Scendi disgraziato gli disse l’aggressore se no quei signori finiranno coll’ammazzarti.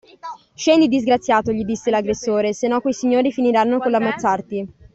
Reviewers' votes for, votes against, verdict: 2, 1, accepted